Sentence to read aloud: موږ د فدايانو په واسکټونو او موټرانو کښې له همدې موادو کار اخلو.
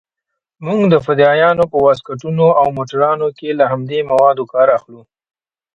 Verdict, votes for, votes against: rejected, 1, 2